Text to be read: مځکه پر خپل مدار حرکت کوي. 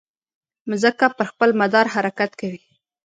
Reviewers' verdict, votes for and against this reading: rejected, 1, 2